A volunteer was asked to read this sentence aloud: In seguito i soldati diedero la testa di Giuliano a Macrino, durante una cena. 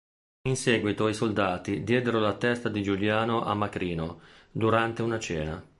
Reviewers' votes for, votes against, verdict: 3, 0, accepted